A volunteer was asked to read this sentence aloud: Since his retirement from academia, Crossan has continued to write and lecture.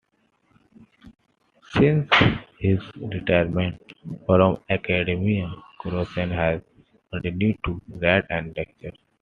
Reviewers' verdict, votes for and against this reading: rejected, 0, 2